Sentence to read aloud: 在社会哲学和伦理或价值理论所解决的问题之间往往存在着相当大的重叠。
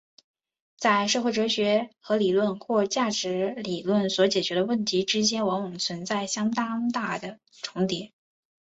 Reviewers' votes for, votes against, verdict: 0, 2, rejected